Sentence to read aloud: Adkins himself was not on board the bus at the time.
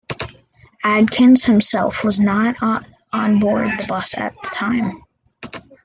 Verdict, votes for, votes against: rejected, 0, 2